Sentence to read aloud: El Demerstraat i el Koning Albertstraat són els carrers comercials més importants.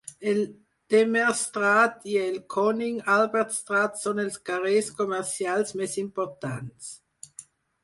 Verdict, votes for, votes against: accepted, 4, 0